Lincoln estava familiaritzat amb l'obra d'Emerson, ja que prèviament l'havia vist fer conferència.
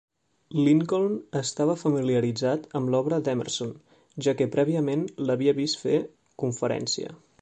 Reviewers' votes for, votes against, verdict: 2, 0, accepted